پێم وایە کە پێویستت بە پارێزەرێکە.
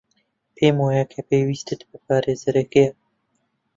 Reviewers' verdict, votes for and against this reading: rejected, 0, 3